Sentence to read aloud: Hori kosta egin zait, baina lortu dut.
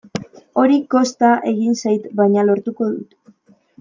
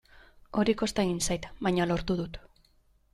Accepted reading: second